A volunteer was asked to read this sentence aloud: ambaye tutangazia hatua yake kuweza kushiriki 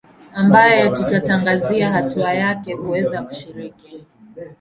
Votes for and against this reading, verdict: 1, 2, rejected